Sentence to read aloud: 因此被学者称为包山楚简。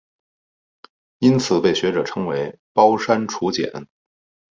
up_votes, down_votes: 4, 0